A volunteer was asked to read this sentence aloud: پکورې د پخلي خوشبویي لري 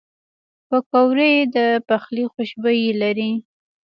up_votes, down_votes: 2, 1